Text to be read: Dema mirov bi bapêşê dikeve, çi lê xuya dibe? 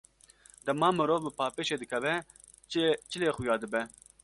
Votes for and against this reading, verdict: 0, 2, rejected